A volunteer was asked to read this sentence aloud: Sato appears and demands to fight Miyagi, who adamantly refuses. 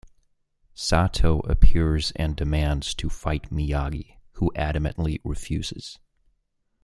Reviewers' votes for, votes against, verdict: 2, 0, accepted